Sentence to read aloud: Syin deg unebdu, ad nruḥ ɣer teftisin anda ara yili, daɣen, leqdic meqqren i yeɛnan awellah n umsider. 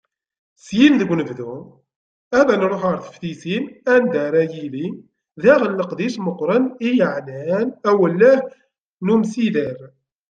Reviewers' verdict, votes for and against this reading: rejected, 1, 2